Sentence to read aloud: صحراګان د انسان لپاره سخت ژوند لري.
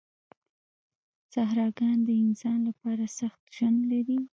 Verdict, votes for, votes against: rejected, 1, 2